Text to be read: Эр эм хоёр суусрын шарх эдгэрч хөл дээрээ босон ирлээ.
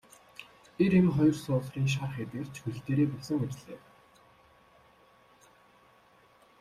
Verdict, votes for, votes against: rejected, 1, 2